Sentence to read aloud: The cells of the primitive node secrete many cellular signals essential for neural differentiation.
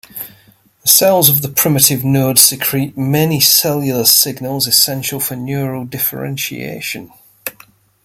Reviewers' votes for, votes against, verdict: 2, 0, accepted